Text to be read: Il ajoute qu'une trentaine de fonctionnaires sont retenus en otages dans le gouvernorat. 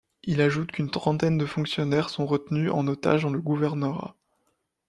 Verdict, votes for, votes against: accepted, 2, 0